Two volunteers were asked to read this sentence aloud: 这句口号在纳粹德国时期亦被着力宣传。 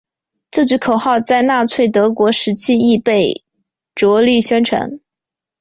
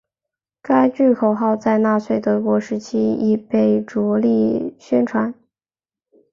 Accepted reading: first